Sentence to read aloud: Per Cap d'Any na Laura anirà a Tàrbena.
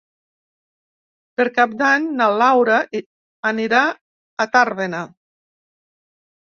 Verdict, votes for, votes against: rejected, 2, 3